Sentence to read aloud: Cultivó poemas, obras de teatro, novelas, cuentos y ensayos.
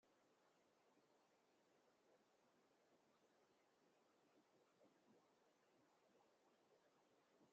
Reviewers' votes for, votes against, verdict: 0, 2, rejected